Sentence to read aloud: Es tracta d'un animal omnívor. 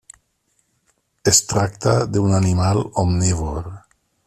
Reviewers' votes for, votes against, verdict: 3, 0, accepted